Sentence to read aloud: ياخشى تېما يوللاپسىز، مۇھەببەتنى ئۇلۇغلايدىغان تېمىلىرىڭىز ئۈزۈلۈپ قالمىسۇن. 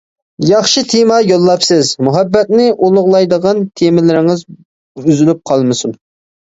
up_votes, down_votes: 2, 0